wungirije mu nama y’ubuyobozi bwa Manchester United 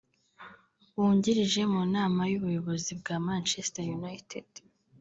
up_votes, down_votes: 3, 2